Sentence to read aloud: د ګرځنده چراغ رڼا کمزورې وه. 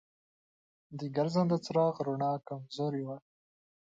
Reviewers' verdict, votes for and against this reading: accepted, 3, 0